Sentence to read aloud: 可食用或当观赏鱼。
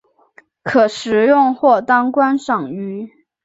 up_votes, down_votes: 2, 0